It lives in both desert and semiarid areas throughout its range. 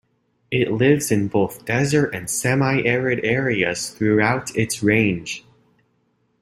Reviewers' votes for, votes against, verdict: 2, 0, accepted